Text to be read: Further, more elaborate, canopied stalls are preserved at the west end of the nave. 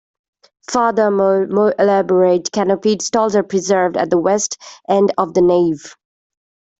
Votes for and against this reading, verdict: 0, 2, rejected